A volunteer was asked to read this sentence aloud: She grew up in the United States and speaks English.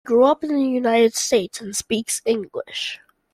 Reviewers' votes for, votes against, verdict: 0, 2, rejected